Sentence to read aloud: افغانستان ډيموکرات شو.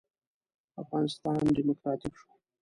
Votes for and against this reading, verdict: 1, 2, rejected